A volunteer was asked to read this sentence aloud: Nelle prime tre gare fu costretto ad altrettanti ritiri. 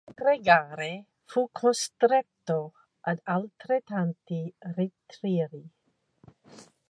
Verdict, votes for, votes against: rejected, 0, 2